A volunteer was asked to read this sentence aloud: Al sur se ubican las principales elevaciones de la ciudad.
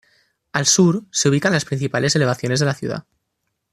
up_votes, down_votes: 2, 0